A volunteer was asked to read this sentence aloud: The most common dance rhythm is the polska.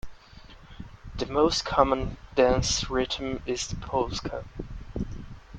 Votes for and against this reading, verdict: 2, 0, accepted